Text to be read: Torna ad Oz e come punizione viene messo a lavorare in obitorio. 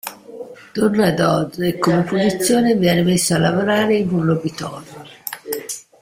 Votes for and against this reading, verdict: 0, 2, rejected